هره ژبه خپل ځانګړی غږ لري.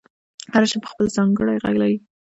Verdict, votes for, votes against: rejected, 0, 2